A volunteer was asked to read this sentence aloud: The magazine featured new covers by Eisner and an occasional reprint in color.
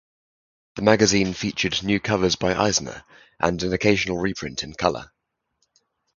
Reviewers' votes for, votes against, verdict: 2, 2, rejected